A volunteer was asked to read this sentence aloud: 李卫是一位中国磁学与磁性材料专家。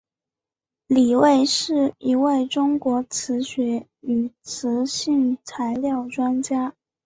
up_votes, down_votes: 3, 0